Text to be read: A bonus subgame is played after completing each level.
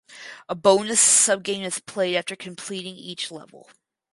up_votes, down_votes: 2, 2